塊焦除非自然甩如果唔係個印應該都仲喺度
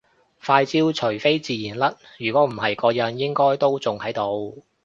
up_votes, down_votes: 2, 0